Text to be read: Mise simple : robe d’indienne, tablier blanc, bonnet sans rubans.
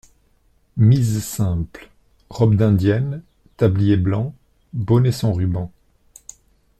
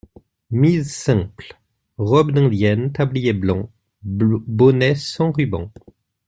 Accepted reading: first